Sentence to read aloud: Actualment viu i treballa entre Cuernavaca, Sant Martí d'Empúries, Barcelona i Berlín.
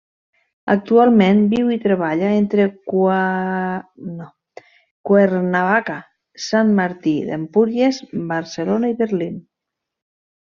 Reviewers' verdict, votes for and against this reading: rejected, 0, 2